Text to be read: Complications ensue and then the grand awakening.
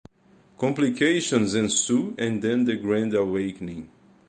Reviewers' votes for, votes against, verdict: 2, 0, accepted